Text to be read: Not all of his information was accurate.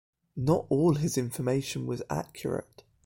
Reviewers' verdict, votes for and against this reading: accepted, 2, 0